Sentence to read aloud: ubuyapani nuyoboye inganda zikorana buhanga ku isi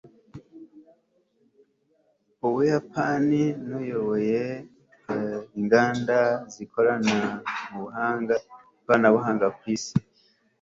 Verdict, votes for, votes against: accepted, 2, 1